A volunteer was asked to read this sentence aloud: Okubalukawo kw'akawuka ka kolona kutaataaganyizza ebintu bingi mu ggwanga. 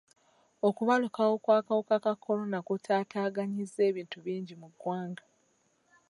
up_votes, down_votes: 2, 0